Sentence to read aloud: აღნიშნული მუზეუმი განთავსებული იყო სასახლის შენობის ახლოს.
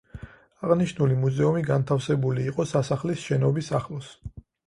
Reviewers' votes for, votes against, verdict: 4, 0, accepted